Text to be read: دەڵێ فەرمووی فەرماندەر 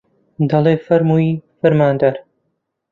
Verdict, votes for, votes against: accepted, 2, 1